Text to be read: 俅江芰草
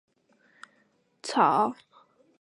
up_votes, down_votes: 0, 4